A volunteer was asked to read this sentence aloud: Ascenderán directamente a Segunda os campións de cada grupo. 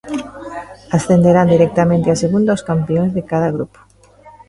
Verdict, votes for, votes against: accepted, 2, 0